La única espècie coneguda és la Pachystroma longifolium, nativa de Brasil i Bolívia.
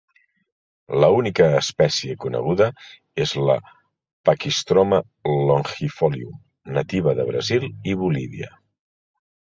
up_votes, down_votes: 2, 0